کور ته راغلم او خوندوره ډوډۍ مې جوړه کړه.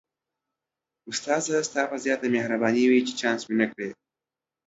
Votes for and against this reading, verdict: 0, 2, rejected